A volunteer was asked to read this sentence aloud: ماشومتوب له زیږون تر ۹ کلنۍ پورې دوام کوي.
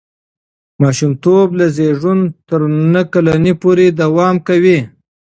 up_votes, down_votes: 0, 2